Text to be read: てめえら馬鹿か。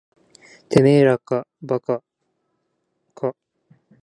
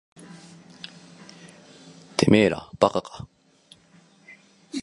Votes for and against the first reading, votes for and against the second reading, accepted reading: 1, 2, 2, 0, second